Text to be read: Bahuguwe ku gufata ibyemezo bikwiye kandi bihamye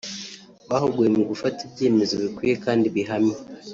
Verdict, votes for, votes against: rejected, 1, 2